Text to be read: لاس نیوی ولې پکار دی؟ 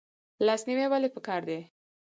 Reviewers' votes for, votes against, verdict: 4, 0, accepted